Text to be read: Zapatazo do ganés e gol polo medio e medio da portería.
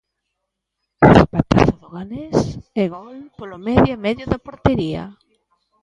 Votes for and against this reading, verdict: 1, 2, rejected